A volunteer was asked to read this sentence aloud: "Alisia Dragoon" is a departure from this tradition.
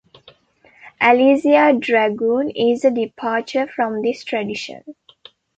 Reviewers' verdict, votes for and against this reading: accepted, 2, 0